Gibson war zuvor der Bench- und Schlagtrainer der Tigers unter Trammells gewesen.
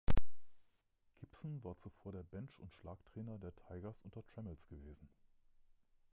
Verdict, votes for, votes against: rejected, 0, 2